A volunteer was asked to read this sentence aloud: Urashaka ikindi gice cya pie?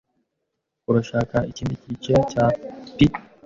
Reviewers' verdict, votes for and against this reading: accepted, 2, 1